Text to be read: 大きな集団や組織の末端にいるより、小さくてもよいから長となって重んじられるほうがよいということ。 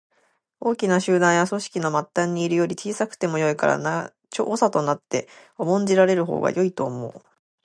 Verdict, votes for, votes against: accepted, 2, 1